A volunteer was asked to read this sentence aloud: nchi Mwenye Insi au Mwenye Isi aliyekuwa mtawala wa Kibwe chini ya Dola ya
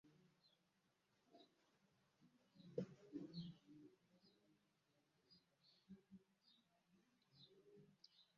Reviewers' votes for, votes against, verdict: 0, 2, rejected